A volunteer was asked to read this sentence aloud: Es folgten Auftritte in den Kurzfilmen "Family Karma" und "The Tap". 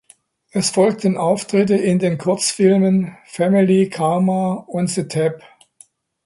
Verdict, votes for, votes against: accepted, 2, 0